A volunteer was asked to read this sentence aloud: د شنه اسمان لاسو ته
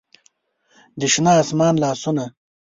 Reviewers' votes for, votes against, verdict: 0, 2, rejected